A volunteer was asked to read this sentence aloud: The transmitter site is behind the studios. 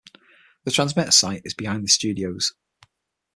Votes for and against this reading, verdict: 6, 0, accepted